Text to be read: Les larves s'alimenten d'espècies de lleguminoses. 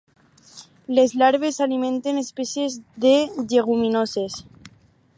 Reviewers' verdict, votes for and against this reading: rejected, 2, 4